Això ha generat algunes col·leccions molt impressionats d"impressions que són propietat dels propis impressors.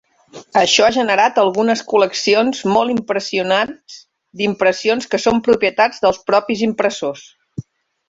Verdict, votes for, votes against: accepted, 4, 1